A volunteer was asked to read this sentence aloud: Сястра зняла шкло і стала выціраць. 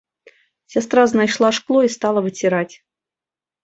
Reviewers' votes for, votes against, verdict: 0, 2, rejected